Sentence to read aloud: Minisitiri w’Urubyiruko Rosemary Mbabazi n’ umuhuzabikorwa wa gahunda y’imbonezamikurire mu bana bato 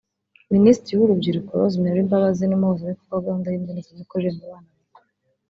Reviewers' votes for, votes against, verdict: 1, 3, rejected